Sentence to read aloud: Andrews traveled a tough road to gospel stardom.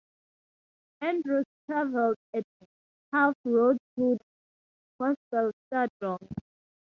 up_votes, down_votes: 2, 2